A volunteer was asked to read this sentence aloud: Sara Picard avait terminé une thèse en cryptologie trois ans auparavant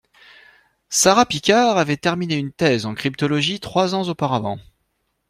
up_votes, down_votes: 2, 0